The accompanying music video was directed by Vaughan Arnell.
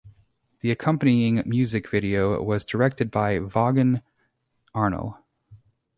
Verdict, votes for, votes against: accepted, 2, 0